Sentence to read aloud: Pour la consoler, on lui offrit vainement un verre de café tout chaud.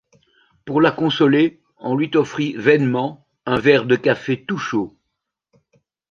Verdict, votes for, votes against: rejected, 0, 2